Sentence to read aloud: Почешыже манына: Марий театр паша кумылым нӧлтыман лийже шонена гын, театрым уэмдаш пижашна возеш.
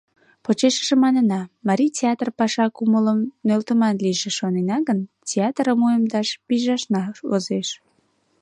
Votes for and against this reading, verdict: 2, 0, accepted